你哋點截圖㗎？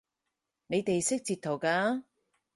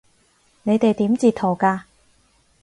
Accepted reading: second